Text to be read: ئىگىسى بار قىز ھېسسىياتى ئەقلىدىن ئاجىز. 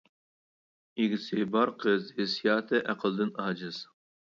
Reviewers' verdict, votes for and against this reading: accepted, 2, 0